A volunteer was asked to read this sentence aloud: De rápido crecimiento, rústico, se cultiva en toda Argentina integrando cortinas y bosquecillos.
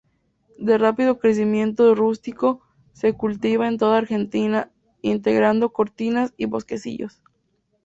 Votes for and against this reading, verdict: 2, 0, accepted